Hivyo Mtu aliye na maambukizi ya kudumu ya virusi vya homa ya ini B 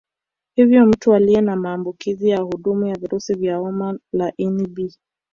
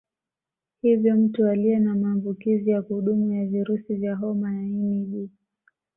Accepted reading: second